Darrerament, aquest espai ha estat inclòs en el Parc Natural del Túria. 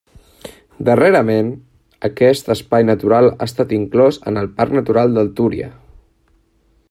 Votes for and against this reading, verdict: 1, 2, rejected